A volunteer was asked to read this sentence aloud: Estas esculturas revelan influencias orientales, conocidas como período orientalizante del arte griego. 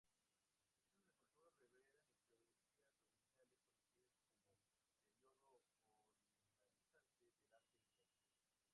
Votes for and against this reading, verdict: 0, 4, rejected